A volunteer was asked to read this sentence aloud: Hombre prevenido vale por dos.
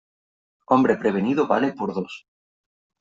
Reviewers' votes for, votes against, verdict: 3, 0, accepted